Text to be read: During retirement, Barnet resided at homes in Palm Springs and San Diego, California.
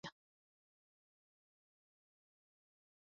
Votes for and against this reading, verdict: 0, 2, rejected